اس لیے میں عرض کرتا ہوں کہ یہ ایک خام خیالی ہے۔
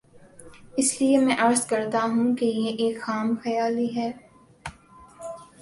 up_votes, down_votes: 2, 0